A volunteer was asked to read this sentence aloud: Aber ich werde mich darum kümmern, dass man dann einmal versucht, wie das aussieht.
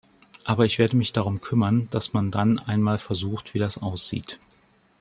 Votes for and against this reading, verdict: 2, 0, accepted